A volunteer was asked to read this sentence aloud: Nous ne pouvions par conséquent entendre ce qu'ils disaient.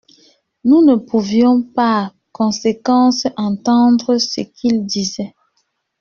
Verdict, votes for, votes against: rejected, 1, 2